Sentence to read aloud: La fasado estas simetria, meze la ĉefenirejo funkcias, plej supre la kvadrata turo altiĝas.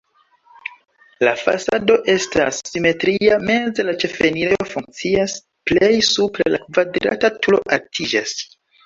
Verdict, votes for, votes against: rejected, 1, 2